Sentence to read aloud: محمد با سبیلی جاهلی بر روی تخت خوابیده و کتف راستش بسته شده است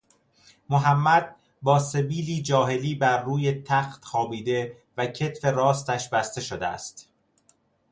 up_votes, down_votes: 2, 0